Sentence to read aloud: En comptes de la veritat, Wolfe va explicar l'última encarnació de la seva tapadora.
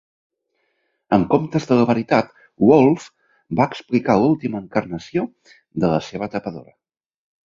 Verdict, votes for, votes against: accepted, 5, 0